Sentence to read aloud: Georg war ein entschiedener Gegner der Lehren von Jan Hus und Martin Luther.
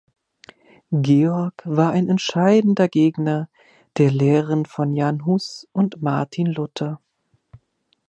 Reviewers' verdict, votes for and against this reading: accepted, 2, 1